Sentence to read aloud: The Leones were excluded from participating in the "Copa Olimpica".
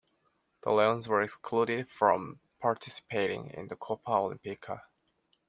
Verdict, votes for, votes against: rejected, 0, 2